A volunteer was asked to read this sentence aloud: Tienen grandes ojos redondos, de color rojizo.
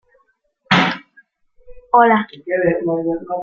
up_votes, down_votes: 0, 2